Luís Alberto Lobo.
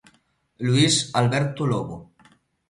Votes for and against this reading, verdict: 2, 0, accepted